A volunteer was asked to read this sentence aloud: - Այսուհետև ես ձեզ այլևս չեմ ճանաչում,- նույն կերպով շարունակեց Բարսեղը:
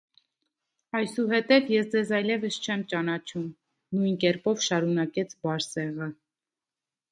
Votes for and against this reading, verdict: 2, 0, accepted